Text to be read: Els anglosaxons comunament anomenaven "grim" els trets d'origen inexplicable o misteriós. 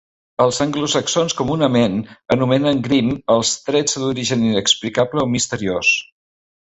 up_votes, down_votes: 1, 2